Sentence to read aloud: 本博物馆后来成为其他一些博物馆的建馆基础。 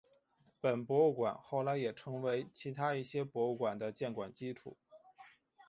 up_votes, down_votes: 3, 0